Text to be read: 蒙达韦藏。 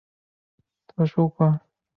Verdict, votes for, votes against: rejected, 2, 3